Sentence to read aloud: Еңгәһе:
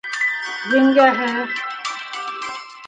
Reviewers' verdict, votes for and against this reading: rejected, 1, 2